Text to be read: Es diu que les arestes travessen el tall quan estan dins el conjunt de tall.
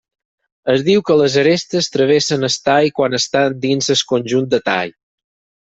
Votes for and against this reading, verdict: 0, 4, rejected